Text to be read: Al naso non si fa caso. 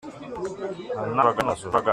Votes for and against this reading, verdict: 0, 2, rejected